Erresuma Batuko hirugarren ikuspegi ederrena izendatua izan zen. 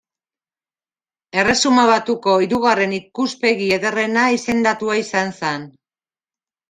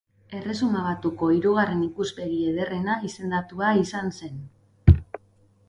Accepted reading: second